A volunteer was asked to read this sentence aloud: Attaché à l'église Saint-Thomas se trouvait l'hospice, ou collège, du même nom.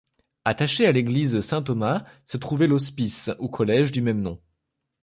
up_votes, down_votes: 1, 2